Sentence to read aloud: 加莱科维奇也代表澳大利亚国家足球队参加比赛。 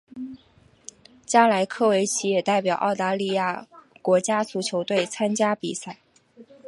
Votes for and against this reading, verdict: 5, 1, accepted